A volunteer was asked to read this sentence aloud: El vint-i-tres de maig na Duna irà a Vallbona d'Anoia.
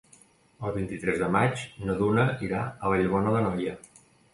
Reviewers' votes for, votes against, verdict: 2, 0, accepted